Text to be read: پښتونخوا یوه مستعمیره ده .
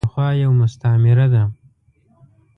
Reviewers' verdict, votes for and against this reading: rejected, 0, 2